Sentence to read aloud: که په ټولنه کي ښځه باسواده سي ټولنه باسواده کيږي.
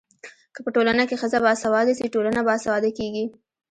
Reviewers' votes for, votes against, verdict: 2, 1, accepted